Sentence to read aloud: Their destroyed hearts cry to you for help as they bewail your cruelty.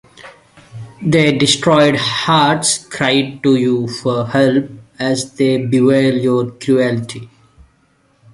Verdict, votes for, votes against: accepted, 2, 0